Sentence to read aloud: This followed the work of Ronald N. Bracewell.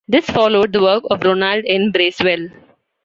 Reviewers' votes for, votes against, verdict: 2, 0, accepted